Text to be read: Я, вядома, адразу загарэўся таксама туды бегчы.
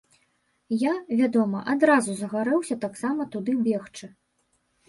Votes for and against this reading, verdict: 2, 0, accepted